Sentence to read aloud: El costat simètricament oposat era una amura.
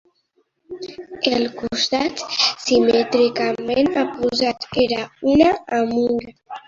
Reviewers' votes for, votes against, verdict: 2, 1, accepted